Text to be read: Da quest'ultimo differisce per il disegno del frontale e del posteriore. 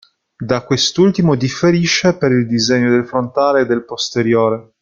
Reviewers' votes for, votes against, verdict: 0, 2, rejected